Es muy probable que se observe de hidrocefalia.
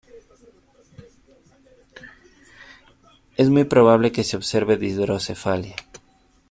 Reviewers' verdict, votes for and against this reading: accepted, 3, 0